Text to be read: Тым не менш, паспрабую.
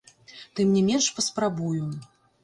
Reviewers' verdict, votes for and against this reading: rejected, 1, 2